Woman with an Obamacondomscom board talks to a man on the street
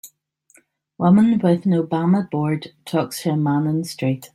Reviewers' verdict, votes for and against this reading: rejected, 1, 2